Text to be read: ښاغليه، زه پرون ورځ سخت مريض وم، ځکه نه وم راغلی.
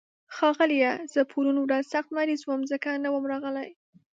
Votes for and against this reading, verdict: 2, 0, accepted